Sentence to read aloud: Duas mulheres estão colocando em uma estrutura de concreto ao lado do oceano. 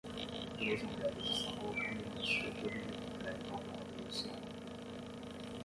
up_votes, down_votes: 0, 10